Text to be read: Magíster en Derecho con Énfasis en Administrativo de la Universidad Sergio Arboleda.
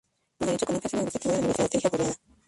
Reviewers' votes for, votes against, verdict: 0, 4, rejected